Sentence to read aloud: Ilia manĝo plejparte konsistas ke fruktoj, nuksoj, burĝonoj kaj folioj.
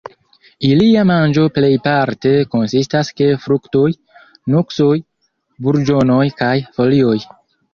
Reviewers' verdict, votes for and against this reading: rejected, 1, 2